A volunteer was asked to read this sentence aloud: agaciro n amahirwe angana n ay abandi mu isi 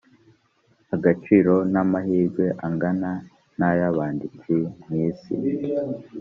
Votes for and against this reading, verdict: 1, 3, rejected